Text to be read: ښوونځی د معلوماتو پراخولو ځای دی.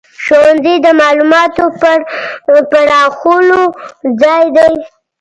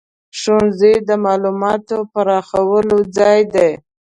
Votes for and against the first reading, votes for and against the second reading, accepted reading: 1, 2, 2, 0, second